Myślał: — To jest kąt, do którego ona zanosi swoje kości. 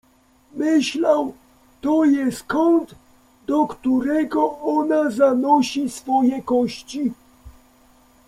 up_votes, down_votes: 2, 0